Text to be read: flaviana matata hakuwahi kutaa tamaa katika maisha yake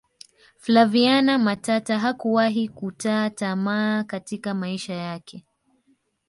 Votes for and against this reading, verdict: 2, 1, accepted